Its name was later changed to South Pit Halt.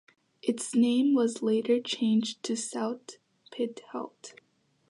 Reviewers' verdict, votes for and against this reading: rejected, 1, 2